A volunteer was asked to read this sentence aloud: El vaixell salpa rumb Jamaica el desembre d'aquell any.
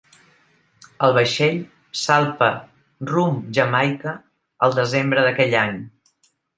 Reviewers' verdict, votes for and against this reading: accepted, 2, 0